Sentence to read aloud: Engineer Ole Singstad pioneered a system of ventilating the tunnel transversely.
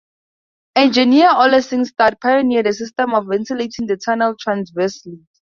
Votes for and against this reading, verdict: 2, 0, accepted